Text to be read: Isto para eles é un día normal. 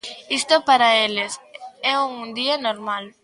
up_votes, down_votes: 2, 0